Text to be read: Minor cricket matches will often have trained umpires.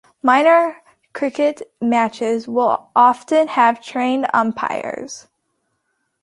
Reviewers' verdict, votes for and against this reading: accepted, 2, 0